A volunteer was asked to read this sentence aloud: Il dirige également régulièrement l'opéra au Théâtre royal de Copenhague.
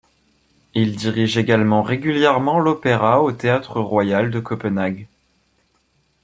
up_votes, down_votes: 2, 0